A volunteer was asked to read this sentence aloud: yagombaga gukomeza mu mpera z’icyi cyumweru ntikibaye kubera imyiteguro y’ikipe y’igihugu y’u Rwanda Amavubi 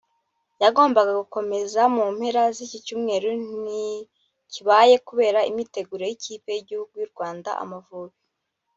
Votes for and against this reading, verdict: 2, 0, accepted